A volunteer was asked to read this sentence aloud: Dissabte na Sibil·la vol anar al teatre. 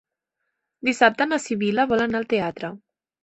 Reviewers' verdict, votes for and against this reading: accepted, 3, 0